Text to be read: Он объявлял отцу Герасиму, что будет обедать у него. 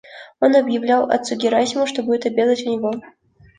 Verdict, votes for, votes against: accepted, 2, 1